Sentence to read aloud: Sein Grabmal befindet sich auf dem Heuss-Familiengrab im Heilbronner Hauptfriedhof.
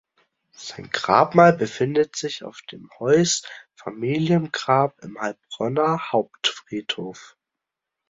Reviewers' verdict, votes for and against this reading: accepted, 2, 0